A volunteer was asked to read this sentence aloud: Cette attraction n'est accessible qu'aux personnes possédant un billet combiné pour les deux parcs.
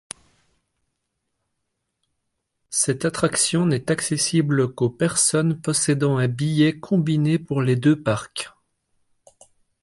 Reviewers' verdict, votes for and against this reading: accepted, 2, 0